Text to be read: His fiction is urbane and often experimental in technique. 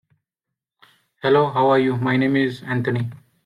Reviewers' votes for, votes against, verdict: 1, 2, rejected